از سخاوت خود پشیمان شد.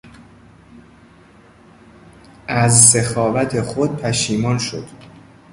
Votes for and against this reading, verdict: 2, 0, accepted